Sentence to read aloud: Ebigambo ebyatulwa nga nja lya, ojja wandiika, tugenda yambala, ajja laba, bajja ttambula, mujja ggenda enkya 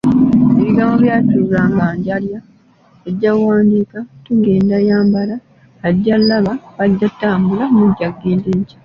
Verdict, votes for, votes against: rejected, 0, 2